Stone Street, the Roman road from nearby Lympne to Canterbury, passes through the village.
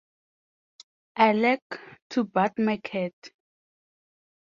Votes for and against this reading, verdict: 0, 4, rejected